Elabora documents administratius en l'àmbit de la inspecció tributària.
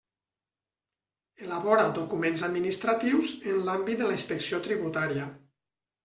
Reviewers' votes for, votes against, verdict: 1, 2, rejected